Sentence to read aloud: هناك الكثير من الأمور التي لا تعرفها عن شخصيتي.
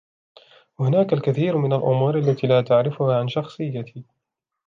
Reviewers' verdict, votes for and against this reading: accepted, 2, 0